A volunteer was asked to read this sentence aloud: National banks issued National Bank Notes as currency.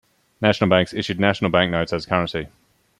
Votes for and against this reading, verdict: 2, 0, accepted